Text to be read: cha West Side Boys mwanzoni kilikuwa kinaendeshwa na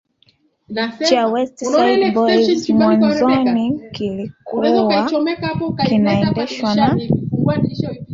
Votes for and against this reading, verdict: 0, 2, rejected